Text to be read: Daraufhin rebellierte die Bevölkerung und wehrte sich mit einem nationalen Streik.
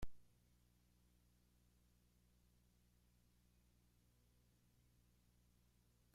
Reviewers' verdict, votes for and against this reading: rejected, 0, 2